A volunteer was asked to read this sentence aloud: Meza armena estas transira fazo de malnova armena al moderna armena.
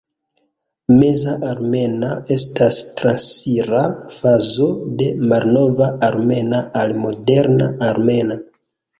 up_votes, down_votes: 0, 2